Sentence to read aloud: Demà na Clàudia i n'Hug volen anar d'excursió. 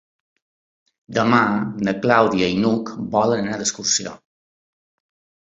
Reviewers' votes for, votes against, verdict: 3, 0, accepted